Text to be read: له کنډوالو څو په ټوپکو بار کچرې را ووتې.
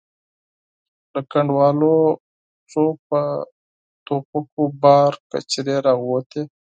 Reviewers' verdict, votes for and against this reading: accepted, 4, 2